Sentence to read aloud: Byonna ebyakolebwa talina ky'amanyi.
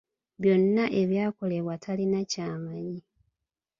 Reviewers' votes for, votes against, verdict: 2, 0, accepted